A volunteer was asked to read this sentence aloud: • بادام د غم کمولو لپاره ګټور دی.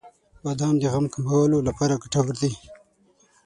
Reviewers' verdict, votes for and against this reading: accepted, 6, 0